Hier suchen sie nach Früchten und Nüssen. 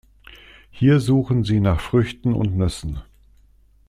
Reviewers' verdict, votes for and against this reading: accepted, 2, 0